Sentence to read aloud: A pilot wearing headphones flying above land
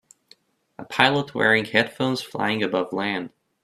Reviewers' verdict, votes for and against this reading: accepted, 2, 0